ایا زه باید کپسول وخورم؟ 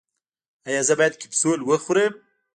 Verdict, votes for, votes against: rejected, 0, 2